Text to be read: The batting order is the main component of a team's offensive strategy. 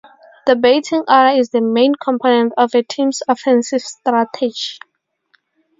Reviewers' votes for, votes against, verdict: 0, 2, rejected